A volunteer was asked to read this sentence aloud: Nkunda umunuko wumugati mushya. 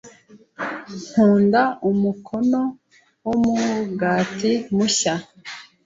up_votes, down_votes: 0, 2